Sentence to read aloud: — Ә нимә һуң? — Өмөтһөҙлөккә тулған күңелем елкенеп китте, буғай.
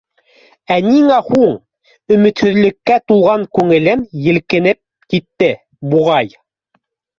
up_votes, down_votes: 0, 2